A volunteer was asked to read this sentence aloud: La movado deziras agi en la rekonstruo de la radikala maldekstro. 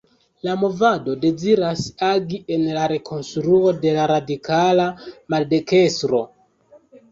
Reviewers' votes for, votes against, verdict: 0, 3, rejected